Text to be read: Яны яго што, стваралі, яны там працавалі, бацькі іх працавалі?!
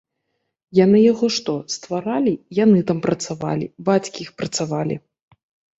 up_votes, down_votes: 1, 2